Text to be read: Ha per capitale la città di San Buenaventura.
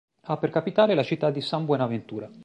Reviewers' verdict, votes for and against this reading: accepted, 2, 0